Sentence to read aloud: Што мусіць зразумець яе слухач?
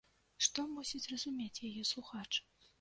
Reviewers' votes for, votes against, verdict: 1, 2, rejected